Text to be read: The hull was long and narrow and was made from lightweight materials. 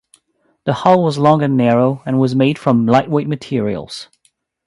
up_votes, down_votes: 2, 0